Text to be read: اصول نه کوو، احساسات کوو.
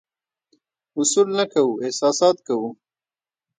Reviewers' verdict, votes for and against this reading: rejected, 1, 2